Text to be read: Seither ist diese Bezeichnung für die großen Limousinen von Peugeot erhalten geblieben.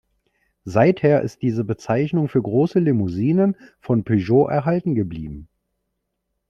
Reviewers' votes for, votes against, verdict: 1, 2, rejected